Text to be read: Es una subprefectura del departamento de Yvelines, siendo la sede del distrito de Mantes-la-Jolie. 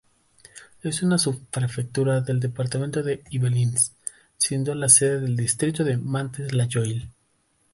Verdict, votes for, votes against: accepted, 3, 0